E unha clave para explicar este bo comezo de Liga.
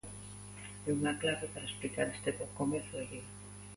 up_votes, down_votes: 2, 1